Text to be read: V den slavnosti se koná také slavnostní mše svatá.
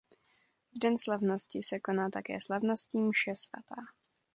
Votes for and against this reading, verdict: 2, 0, accepted